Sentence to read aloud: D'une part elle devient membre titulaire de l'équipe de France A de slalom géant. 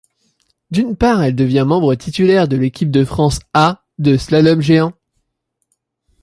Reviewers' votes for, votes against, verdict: 2, 0, accepted